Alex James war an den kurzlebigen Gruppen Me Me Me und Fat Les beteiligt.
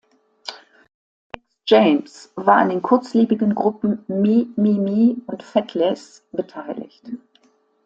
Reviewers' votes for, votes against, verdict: 0, 2, rejected